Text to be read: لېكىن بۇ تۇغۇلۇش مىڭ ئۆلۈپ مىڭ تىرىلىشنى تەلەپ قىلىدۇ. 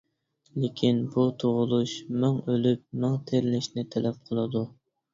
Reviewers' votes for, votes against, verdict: 2, 0, accepted